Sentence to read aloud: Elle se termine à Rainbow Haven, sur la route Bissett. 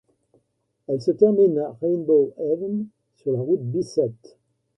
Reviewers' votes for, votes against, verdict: 0, 2, rejected